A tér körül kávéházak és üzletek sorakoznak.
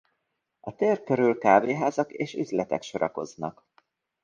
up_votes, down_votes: 0, 2